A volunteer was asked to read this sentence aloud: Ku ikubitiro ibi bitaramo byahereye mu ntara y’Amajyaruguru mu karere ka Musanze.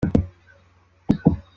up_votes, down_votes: 0, 2